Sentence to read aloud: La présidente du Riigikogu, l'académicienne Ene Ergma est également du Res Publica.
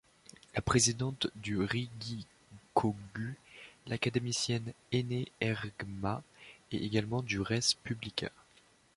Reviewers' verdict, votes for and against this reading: rejected, 2, 3